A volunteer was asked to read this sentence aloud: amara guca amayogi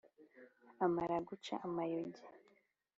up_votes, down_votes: 2, 0